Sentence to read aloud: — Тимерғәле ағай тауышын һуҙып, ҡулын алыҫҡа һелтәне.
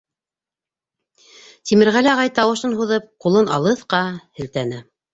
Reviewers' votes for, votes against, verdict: 3, 0, accepted